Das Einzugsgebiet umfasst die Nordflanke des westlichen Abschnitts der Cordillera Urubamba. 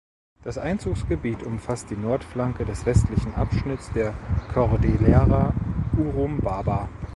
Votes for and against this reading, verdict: 1, 2, rejected